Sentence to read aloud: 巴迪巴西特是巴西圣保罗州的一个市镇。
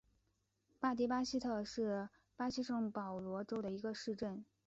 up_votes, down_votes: 1, 2